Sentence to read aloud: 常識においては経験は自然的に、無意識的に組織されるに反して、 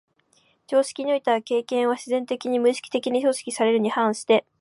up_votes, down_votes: 2, 0